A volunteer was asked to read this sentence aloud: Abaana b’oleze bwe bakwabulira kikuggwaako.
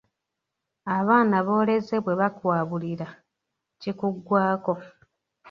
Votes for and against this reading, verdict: 3, 1, accepted